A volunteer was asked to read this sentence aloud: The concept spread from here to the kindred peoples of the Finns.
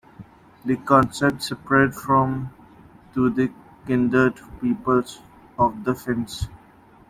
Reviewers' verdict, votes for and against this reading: rejected, 0, 2